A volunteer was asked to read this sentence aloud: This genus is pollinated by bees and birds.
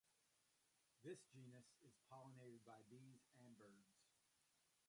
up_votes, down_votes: 0, 2